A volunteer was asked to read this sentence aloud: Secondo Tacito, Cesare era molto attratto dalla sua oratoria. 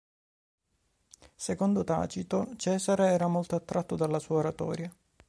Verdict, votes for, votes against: accepted, 2, 0